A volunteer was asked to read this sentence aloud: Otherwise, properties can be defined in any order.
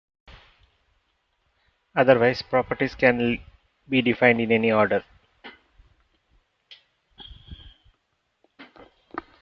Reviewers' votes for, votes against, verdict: 1, 3, rejected